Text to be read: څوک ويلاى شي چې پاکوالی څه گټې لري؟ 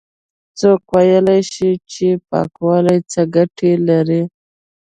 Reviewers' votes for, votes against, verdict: 2, 0, accepted